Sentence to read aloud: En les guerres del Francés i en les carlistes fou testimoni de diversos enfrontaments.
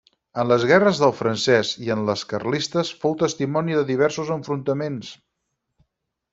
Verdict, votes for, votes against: accepted, 6, 0